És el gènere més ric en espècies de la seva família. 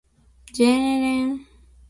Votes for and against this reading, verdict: 0, 2, rejected